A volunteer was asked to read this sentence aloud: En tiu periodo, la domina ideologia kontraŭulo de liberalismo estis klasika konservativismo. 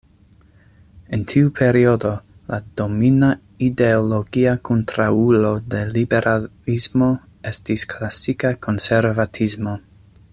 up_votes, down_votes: 0, 2